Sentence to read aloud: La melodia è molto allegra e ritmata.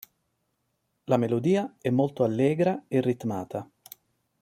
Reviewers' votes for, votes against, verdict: 2, 0, accepted